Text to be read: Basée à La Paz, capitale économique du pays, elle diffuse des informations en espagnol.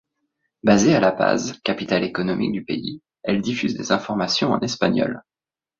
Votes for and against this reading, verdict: 2, 0, accepted